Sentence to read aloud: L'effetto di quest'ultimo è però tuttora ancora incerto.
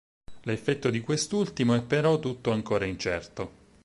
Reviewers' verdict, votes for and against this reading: rejected, 4, 6